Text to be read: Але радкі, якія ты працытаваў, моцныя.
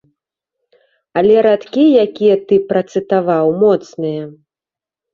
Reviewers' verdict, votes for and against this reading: accepted, 3, 0